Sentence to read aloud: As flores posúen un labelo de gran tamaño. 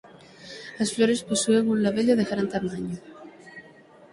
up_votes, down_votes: 6, 0